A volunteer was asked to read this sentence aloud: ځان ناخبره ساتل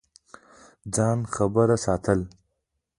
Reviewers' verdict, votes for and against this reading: rejected, 0, 2